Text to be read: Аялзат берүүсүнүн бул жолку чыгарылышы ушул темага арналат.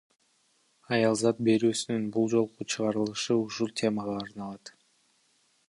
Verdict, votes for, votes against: accepted, 2, 1